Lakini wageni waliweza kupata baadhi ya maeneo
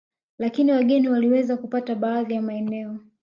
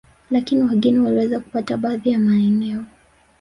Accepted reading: first